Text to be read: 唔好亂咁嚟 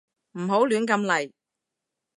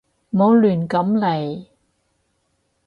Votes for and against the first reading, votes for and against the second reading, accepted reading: 2, 0, 2, 2, first